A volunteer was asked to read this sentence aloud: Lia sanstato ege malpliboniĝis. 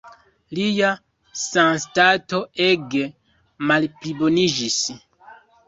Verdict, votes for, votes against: rejected, 0, 2